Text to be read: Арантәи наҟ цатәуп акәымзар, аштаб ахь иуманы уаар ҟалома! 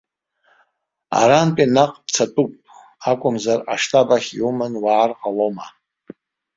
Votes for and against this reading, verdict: 2, 0, accepted